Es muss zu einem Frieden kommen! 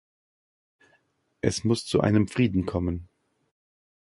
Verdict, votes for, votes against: accepted, 2, 0